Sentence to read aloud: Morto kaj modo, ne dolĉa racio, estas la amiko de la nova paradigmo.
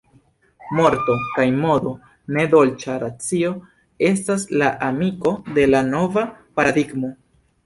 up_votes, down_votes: 1, 2